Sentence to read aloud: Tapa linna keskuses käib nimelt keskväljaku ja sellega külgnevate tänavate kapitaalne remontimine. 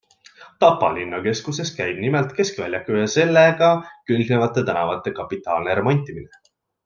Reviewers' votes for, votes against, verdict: 2, 1, accepted